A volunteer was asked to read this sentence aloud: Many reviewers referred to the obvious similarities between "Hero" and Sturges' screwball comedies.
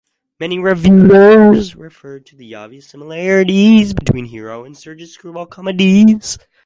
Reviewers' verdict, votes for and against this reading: rejected, 2, 2